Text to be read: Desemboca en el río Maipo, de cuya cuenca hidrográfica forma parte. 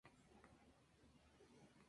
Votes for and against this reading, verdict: 0, 2, rejected